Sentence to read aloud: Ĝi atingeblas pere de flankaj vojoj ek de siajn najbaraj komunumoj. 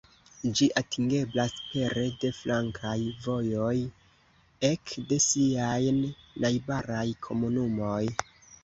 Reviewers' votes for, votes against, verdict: 2, 0, accepted